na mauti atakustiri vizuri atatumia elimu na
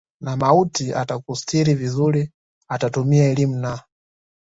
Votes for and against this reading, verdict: 2, 0, accepted